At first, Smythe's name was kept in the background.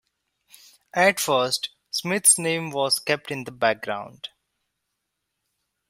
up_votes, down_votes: 2, 0